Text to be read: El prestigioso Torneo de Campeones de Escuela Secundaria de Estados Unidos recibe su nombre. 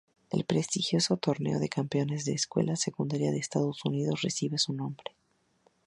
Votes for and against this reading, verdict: 2, 0, accepted